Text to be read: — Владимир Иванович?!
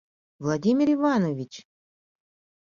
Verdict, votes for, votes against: accepted, 2, 0